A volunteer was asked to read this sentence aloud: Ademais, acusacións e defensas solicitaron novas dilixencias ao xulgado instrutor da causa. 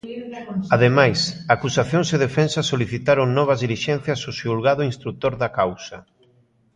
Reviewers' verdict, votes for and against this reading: accepted, 2, 0